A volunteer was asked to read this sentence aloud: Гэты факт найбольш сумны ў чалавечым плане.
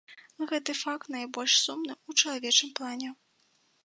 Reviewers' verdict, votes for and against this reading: accepted, 2, 0